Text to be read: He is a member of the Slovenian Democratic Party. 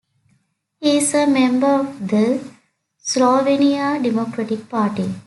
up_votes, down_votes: 2, 0